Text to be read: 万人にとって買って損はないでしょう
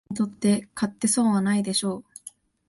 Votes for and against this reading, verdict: 7, 8, rejected